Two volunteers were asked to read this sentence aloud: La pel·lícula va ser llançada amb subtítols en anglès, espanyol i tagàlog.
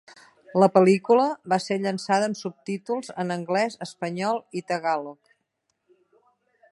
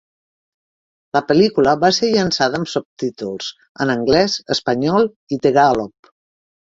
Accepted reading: first